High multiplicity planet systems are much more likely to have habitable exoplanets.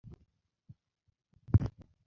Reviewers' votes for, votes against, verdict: 0, 2, rejected